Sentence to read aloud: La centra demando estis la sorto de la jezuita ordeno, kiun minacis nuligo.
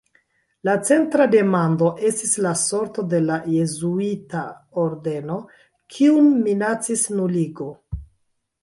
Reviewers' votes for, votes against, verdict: 0, 2, rejected